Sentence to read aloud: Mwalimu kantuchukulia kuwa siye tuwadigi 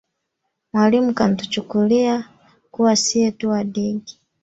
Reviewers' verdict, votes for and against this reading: rejected, 0, 2